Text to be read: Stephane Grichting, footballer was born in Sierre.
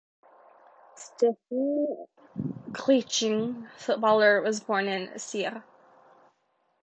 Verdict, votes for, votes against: rejected, 0, 2